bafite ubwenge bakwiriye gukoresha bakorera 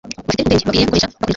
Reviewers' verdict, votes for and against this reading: rejected, 0, 2